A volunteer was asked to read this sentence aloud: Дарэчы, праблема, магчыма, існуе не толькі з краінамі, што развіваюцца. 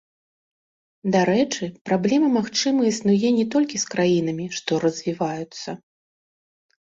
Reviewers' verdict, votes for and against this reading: rejected, 0, 2